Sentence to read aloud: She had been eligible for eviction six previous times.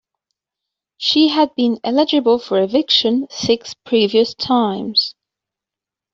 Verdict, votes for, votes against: accepted, 2, 0